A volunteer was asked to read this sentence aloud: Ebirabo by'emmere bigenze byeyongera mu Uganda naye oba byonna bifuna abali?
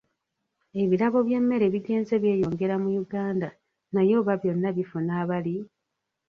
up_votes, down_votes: 1, 2